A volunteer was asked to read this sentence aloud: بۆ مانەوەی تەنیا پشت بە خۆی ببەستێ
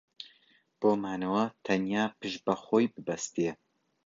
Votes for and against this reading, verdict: 0, 2, rejected